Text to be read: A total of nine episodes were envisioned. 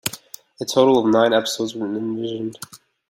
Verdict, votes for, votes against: rejected, 1, 2